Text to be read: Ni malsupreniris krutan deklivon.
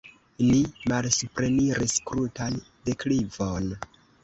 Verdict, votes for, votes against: rejected, 0, 2